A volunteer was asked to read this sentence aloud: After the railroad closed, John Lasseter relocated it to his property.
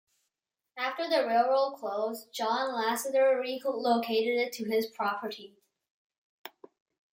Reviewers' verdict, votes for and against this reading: rejected, 0, 2